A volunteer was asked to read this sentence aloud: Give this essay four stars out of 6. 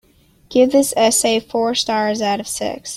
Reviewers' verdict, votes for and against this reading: rejected, 0, 2